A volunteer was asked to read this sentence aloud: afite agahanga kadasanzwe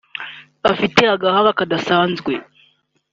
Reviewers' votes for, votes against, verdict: 2, 0, accepted